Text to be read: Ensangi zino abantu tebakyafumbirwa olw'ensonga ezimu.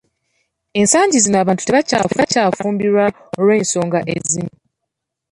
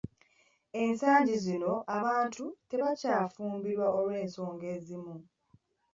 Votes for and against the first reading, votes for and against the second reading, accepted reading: 1, 2, 2, 0, second